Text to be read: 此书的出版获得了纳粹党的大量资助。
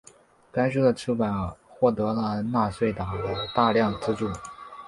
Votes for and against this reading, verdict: 3, 1, accepted